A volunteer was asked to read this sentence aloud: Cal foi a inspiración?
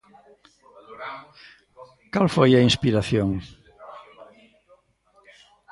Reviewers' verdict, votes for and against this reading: accepted, 2, 0